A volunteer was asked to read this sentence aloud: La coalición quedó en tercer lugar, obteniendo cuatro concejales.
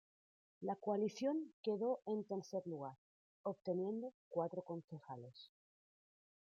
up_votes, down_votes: 0, 2